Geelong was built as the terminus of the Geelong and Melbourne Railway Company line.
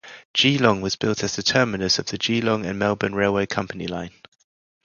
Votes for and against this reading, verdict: 4, 0, accepted